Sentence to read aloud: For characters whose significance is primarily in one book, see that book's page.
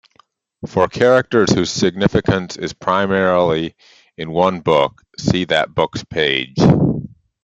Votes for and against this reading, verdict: 2, 0, accepted